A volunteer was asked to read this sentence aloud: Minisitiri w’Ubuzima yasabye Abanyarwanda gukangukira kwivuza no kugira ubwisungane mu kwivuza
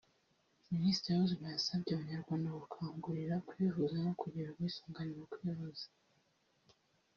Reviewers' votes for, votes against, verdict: 2, 1, accepted